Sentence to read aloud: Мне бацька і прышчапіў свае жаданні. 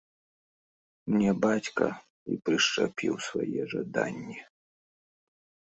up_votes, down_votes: 2, 0